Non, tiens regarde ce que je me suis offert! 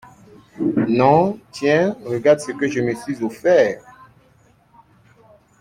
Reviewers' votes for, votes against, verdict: 2, 0, accepted